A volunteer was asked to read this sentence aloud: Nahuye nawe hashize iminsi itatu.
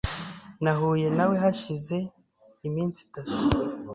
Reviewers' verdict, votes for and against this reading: accepted, 2, 1